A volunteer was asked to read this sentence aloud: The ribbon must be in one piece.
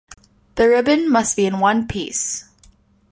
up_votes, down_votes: 2, 0